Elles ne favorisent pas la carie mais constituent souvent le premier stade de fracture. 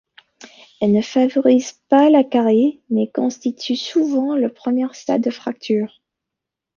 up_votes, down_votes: 1, 2